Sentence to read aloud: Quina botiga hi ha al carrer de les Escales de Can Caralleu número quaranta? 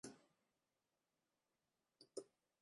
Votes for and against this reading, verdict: 0, 2, rejected